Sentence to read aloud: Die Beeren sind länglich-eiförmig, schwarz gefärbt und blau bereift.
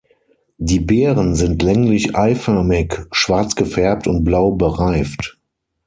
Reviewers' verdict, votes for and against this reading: accepted, 6, 0